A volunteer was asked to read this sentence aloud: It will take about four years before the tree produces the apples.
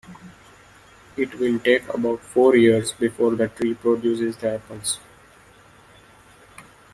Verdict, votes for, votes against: rejected, 1, 2